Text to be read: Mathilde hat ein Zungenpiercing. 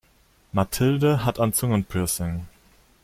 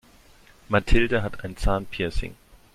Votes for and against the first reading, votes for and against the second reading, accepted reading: 2, 0, 0, 2, first